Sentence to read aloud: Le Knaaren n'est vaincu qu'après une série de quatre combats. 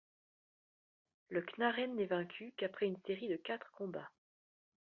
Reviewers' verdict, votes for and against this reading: accepted, 2, 0